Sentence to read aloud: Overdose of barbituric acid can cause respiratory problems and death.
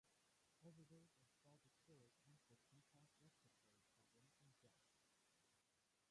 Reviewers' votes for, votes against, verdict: 0, 2, rejected